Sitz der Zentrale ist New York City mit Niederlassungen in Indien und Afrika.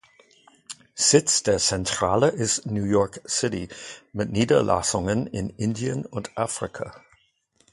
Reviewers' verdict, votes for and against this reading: accepted, 2, 0